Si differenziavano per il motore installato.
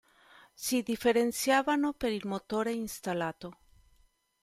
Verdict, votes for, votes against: accepted, 2, 0